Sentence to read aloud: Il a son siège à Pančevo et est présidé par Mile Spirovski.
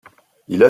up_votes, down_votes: 0, 2